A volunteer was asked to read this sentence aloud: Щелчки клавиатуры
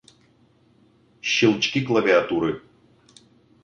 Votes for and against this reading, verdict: 2, 0, accepted